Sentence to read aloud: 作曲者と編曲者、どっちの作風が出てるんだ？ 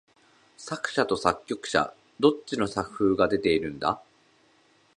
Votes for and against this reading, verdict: 0, 2, rejected